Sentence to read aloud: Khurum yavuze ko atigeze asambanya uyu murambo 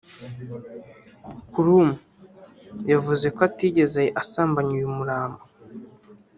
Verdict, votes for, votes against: rejected, 0, 3